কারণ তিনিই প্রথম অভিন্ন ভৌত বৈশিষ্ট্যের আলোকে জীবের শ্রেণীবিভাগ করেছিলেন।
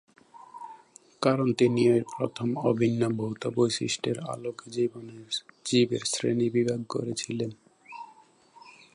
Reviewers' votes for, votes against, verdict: 1, 2, rejected